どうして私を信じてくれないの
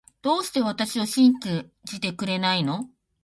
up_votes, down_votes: 2, 1